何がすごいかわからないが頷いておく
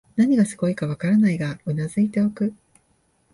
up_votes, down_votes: 2, 0